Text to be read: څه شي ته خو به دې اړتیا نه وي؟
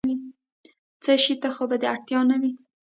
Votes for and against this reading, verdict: 4, 0, accepted